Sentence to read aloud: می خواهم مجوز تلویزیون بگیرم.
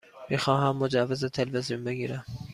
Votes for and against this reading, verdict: 2, 0, accepted